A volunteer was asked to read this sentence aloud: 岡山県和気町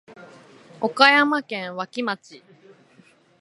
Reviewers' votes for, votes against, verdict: 0, 2, rejected